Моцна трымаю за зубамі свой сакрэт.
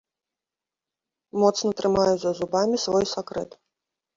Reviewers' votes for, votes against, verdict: 2, 0, accepted